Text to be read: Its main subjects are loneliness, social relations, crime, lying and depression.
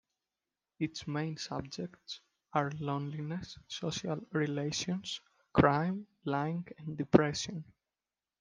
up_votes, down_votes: 2, 0